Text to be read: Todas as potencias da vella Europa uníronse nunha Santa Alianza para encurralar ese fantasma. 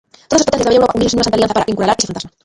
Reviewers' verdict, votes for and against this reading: rejected, 0, 2